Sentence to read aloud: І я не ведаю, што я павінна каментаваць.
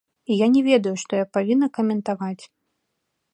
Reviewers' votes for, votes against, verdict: 2, 0, accepted